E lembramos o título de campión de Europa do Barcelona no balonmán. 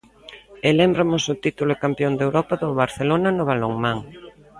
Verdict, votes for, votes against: rejected, 0, 2